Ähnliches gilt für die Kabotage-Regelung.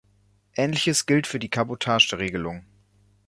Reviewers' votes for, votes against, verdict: 2, 0, accepted